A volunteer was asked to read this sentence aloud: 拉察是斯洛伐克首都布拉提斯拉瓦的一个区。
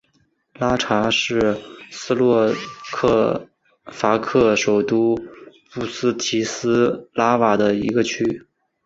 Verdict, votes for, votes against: rejected, 0, 5